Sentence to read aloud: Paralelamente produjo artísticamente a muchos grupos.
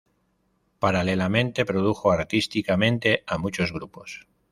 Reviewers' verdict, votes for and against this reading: accepted, 2, 0